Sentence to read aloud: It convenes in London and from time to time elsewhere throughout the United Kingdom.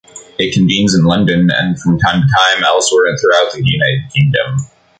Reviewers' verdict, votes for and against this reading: rejected, 1, 2